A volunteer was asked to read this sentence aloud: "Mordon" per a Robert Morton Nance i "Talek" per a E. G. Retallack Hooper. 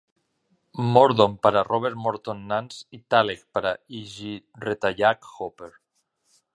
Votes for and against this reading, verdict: 2, 0, accepted